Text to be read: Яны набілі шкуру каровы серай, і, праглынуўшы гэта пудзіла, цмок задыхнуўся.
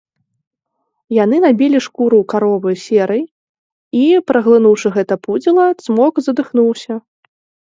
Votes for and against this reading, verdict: 2, 0, accepted